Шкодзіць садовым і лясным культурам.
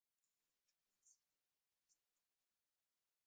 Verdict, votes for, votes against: rejected, 0, 2